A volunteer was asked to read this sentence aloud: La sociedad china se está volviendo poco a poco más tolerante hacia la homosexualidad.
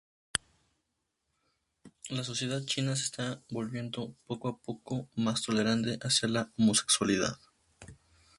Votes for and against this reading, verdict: 2, 0, accepted